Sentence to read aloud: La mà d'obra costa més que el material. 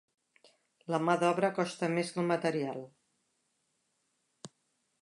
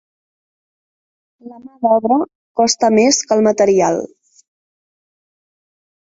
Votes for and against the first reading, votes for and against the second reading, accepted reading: 3, 0, 1, 2, first